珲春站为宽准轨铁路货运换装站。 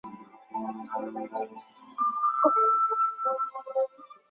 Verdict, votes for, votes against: accepted, 2, 0